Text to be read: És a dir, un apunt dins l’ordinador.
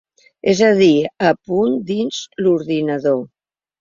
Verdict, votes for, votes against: rejected, 0, 2